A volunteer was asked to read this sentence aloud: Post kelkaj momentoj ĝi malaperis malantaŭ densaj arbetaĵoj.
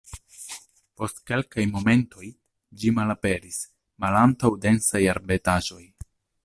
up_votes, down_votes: 2, 0